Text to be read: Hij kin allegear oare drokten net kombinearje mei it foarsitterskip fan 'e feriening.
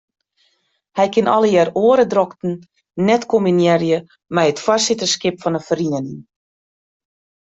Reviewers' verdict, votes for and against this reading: accepted, 2, 0